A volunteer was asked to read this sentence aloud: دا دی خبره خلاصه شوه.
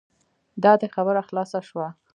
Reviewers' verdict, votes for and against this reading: rejected, 1, 2